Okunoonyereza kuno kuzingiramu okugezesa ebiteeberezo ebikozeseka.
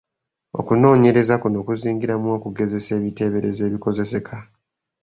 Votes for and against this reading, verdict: 2, 0, accepted